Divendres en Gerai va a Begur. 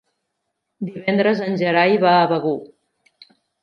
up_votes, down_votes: 3, 1